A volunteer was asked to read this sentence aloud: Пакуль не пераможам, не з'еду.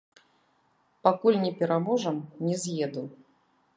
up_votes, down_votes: 1, 2